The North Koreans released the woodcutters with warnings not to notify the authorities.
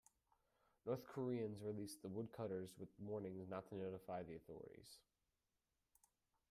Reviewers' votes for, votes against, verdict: 0, 2, rejected